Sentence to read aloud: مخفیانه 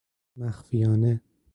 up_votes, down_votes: 4, 0